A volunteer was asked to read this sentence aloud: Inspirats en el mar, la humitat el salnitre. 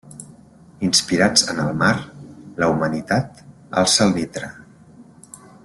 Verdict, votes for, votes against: rejected, 0, 2